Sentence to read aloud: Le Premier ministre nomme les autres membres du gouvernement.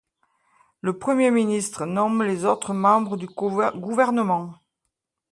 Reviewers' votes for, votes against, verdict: 0, 2, rejected